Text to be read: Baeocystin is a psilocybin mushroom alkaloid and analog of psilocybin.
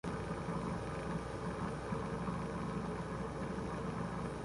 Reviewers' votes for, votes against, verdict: 0, 2, rejected